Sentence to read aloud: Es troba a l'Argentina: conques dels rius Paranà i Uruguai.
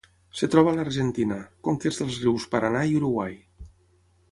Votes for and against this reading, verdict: 3, 6, rejected